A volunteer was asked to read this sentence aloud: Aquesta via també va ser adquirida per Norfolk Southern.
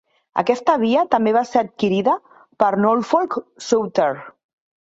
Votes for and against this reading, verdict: 1, 2, rejected